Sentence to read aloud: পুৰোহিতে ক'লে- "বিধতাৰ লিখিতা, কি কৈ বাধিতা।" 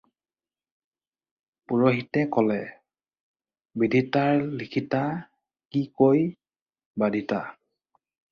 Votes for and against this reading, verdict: 2, 4, rejected